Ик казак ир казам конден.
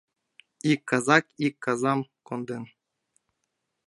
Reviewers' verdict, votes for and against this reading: accepted, 2, 0